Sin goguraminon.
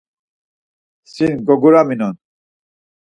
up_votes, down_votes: 4, 0